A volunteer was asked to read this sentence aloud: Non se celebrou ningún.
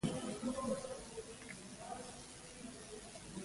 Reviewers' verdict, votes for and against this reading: rejected, 0, 2